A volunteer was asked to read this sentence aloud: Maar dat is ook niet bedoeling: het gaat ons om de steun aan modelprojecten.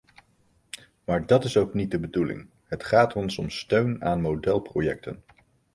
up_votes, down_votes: 1, 2